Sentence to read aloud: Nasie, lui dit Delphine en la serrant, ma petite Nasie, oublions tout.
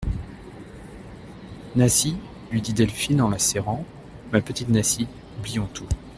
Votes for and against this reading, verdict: 2, 0, accepted